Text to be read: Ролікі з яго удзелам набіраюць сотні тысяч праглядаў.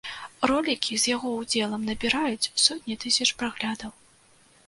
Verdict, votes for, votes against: accepted, 2, 0